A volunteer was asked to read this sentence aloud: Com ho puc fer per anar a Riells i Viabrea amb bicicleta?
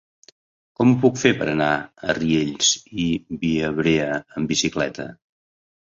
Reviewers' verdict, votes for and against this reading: accepted, 3, 0